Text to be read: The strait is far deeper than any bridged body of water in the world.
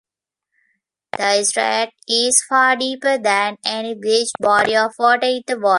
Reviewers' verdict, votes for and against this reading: rejected, 0, 2